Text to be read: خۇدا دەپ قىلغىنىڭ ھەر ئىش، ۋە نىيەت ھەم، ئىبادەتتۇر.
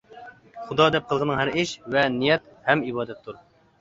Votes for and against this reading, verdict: 2, 0, accepted